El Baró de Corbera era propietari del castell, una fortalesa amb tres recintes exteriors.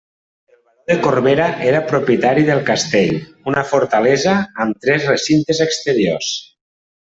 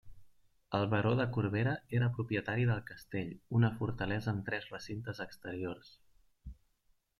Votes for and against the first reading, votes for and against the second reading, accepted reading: 0, 2, 3, 0, second